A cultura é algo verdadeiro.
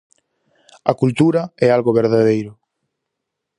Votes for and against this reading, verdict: 4, 0, accepted